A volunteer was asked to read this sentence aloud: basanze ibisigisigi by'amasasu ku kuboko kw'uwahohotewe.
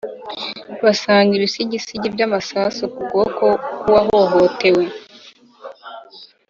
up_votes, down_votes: 4, 0